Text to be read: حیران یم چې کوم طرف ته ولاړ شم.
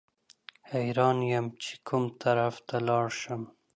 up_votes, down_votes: 2, 0